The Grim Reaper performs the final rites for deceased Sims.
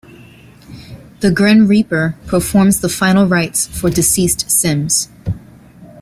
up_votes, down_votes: 2, 0